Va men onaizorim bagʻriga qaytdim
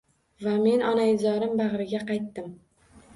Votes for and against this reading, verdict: 2, 0, accepted